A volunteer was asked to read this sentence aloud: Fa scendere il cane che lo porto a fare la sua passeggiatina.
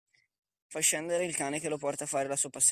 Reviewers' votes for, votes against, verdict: 0, 2, rejected